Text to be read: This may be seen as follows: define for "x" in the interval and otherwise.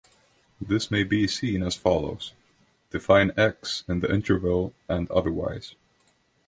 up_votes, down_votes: 0, 2